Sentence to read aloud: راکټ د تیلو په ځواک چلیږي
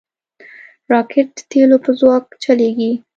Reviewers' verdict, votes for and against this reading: accepted, 2, 0